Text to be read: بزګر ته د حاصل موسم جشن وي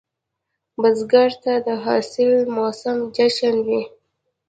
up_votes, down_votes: 2, 0